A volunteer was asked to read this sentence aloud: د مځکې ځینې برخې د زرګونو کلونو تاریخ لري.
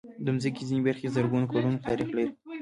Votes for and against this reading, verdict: 2, 1, accepted